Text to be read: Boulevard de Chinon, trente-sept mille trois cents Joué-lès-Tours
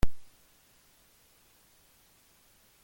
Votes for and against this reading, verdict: 0, 2, rejected